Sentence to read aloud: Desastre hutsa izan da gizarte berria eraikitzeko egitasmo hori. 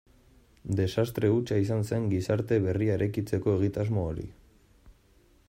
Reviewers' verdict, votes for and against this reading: rejected, 1, 2